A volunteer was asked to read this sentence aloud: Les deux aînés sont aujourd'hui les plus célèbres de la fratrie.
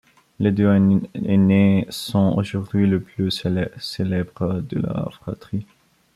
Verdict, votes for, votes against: rejected, 0, 2